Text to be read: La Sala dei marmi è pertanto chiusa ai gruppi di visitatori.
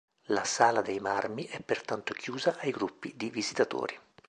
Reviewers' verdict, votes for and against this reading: accepted, 2, 0